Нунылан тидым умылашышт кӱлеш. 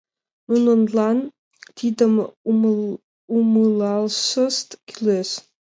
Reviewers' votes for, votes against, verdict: 0, 2, rejected